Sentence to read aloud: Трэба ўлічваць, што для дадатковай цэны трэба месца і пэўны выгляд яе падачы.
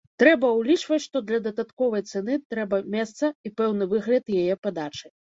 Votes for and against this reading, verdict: 2, 0, accepted